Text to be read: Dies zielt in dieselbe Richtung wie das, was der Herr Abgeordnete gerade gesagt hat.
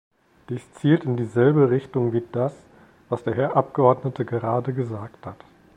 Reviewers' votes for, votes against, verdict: 2, 0, accepted